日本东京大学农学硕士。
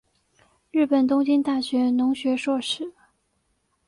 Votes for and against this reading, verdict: 4, 1, accepted